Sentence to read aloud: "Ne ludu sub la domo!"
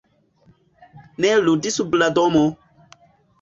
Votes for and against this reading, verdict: 1, 2, rejected